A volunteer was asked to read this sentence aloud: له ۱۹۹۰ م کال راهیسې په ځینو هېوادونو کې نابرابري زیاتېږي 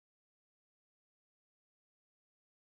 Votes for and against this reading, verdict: 0, 2, rejected